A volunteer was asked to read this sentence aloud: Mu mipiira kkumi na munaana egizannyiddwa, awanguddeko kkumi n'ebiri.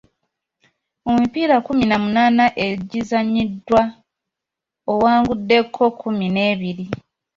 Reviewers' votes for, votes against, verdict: 1, 2, rejected